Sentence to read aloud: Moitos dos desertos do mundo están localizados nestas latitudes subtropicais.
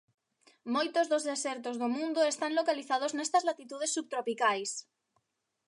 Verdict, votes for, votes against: accepted, 2, 0